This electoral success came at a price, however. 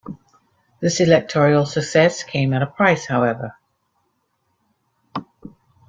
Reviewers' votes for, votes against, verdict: 1, 2, rejected